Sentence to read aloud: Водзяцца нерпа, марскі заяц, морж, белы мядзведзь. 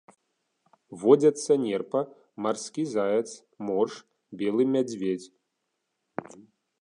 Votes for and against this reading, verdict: 3, 0, accepted